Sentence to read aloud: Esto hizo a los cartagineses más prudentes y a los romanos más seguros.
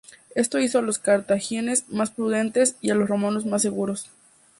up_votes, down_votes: 0, 2